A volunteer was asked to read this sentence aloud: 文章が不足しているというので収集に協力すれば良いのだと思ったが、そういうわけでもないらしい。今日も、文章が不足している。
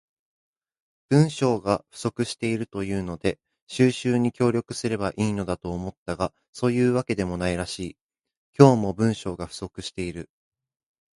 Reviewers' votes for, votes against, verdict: 2, 0, accepted